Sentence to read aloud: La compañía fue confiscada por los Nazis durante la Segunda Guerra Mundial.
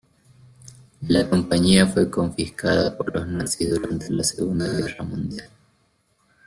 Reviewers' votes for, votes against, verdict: 1, 2, rejected